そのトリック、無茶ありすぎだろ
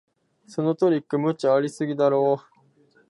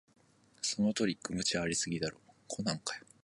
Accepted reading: second